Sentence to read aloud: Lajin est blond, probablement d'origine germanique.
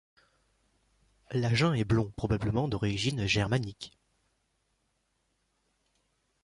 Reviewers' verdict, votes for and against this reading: accepted, 2, 0